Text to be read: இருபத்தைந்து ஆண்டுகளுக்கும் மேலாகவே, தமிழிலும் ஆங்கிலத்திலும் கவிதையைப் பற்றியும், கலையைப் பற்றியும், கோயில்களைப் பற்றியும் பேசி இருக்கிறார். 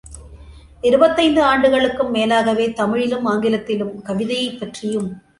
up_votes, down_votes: 0, 2